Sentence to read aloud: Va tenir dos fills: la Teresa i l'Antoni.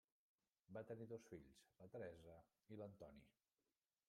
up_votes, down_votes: 1, 2